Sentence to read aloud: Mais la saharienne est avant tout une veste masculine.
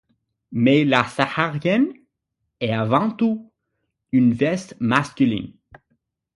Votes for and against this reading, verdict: 6, 0, accepted